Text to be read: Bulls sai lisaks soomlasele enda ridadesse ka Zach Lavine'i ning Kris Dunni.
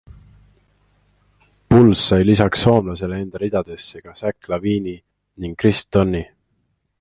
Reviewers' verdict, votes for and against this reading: accepted, 2, 0